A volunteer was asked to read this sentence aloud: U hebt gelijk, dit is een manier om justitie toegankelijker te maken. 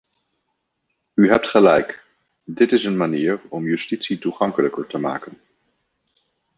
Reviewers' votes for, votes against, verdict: 2, 0, accepted